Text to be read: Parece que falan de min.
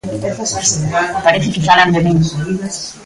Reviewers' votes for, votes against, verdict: 2, 3, rejected